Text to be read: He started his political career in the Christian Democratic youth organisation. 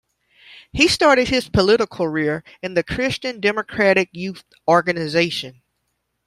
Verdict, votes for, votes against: rejected, 0, 2